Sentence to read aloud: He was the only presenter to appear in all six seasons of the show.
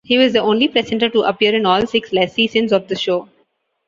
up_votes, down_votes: 0, 2